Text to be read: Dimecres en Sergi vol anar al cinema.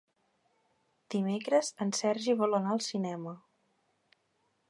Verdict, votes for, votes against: accepted, 3, 0